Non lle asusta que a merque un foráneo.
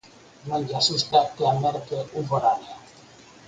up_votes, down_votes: 4, 2